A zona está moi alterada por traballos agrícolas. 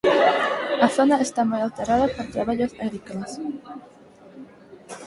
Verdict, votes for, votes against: accepted, 4, 0